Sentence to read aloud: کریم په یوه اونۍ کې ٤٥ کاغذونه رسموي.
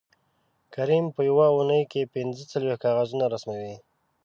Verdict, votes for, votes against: rejected, 0, 2